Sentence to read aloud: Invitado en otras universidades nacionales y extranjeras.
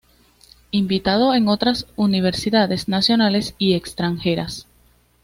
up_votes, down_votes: 2, 0